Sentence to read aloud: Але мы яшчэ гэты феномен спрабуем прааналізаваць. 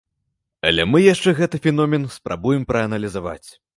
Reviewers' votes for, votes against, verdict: 2, 0, accepted